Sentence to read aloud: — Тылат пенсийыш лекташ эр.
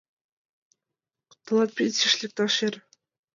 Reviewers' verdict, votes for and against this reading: accepted, 2, 0